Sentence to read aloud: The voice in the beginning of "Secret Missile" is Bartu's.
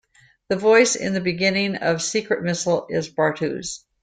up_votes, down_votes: 2, 0